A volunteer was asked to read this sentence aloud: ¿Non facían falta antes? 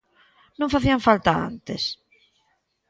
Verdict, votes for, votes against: accepted, 2, 0